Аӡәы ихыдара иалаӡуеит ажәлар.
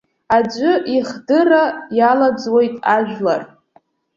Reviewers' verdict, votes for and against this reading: rejected, 0, 2